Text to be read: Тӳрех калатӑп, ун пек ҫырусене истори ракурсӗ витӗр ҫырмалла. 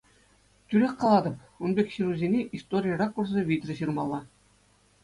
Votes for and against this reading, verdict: 2, 0, accepted